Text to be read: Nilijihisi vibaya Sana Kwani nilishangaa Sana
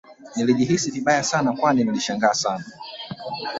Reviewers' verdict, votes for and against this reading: rejected, 1, 2